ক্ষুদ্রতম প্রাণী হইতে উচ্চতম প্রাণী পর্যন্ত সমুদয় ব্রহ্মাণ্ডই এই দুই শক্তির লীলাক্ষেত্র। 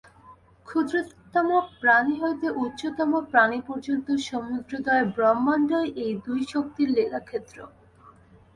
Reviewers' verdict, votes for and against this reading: rejected, 0, 2